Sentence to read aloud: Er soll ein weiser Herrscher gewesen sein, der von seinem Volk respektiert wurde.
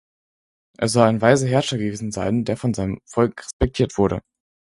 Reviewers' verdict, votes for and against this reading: accepted, 4, 0